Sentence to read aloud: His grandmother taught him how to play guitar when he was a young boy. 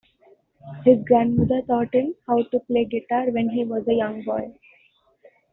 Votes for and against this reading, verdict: 2, 0, accepted